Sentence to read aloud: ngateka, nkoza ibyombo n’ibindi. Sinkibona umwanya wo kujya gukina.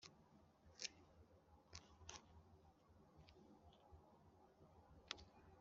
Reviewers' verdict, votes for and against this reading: rejected, 0, 2